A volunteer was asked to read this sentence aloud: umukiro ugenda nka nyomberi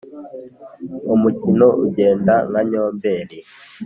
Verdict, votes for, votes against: accepted, 3, 0